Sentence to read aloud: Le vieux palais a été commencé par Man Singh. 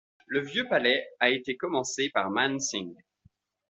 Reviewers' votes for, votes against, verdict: 2, 0, accepted